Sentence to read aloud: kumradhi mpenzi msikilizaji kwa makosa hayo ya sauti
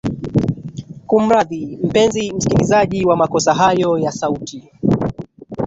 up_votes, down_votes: 2, 6